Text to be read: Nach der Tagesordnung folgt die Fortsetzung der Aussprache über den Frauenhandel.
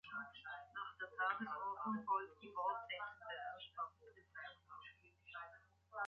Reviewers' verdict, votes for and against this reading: rejected, 0, 3